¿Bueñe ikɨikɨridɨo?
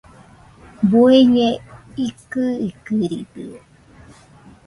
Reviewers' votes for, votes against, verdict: 0, 2, rejected